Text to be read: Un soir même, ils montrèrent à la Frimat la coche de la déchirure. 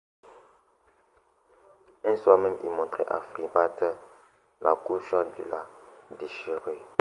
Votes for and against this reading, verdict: 0, 2, rejected